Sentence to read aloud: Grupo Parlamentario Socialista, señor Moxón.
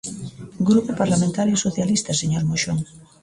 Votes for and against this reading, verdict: 1, 2, rejected